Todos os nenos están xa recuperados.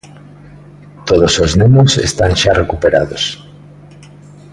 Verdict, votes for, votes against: accepted, 2, 0